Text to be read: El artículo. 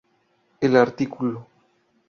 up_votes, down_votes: 0, 2